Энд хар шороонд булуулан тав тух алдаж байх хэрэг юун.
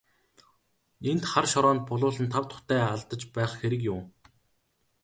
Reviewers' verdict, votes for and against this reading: rejected, 0, 2